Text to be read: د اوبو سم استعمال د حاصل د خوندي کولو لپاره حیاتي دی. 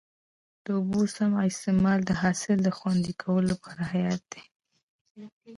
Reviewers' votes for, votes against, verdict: 1, 2, rejected